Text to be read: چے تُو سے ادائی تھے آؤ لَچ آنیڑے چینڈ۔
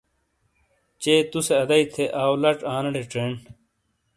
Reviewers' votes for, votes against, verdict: 2, 0, accepted